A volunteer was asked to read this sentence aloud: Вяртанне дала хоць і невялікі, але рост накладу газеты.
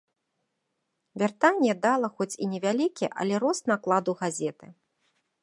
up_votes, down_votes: 3, 1